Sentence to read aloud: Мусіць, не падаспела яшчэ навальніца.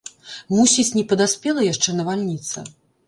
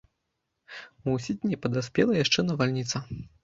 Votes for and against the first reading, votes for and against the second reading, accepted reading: 2, 0, 0, 2, first